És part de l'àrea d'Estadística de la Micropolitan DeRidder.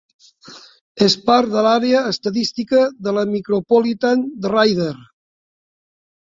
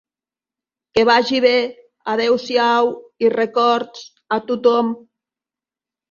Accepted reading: first